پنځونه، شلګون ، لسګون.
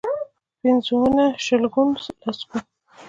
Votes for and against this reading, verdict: 2, 0, accepted